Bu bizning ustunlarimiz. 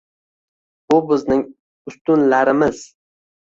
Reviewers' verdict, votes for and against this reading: accepted, 2, 0